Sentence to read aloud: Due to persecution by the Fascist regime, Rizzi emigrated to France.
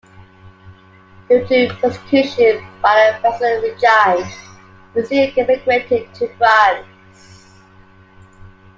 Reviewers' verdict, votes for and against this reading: accepted, 2, 1